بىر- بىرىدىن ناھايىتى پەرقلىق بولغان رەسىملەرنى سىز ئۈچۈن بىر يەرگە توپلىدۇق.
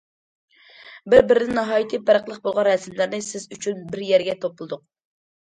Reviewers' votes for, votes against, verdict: 2, 0, accepted